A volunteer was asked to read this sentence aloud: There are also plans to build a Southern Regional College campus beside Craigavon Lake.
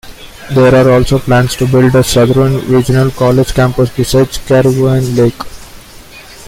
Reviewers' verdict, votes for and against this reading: rejected, 0, 2